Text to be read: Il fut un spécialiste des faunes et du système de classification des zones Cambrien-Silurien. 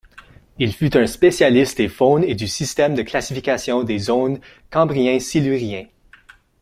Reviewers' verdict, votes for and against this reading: accepted, 2, 0